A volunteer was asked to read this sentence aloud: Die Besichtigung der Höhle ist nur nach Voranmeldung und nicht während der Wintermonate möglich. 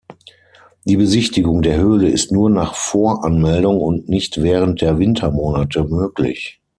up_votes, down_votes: 6, 0